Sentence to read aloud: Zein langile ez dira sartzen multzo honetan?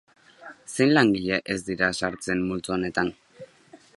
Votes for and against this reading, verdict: 3, 0, accepted